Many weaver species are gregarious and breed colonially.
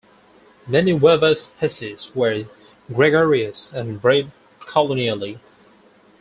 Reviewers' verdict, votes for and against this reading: rejected, 0, 4